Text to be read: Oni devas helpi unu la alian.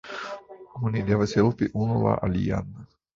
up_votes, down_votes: 2, 0